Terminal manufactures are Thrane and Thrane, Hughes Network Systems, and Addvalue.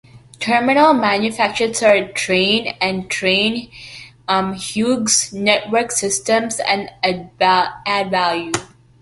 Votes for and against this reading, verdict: 0, 2, rejected